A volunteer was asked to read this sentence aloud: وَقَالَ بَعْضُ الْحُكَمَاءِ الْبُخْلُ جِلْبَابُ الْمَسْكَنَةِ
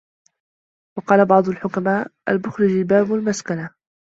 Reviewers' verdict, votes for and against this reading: rejected, 0, 2